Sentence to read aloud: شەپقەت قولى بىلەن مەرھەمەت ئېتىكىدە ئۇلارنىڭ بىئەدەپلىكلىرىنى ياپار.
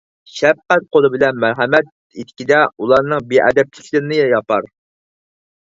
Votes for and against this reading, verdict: 4, 0, accepted